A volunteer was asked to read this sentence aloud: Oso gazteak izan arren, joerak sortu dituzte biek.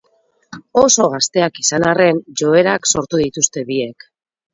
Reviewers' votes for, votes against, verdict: 0, 2, rejected